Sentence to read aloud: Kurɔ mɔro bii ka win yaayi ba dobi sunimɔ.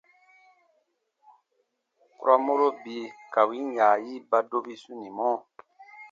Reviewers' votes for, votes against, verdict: 2, 0, accepted